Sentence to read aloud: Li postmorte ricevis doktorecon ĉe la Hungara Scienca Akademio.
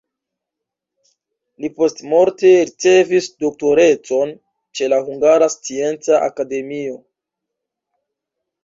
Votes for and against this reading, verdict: 1, 2, rejected